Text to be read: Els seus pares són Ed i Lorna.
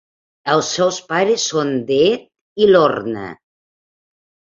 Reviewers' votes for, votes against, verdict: 0, 2, rejected